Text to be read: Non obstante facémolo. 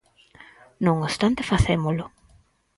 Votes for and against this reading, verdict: 4, 0, accepted